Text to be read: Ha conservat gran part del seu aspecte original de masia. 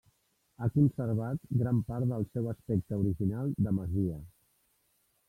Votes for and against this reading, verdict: 1, 2, rejected